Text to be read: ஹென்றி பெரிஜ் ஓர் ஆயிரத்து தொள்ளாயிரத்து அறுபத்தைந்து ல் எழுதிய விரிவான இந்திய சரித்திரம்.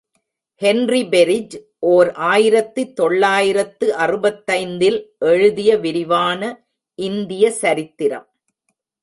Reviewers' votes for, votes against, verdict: 0, 2, rejected